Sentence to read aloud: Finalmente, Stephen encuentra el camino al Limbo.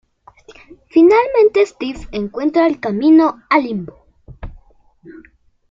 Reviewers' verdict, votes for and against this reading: accepted, 2, 0